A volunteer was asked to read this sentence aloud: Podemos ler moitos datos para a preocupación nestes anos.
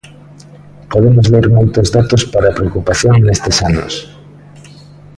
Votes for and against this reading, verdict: 0, 2, rejected